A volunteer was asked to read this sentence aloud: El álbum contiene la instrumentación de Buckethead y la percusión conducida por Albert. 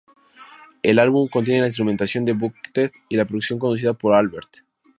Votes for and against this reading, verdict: 2, 0, accepted